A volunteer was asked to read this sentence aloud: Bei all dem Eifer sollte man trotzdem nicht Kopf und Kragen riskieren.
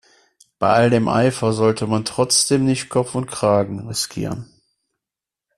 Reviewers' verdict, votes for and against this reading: accepted, 2, 0